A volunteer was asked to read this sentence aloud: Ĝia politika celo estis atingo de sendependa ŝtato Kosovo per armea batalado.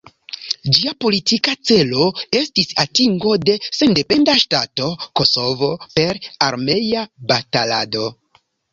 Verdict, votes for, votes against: accepted, 2, 0